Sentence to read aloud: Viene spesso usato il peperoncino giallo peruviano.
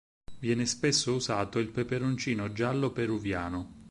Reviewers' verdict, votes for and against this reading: accepted, 4, 0